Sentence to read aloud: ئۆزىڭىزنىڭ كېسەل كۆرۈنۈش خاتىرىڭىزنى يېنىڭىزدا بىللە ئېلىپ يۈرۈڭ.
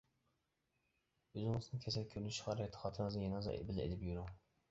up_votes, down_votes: 0, 2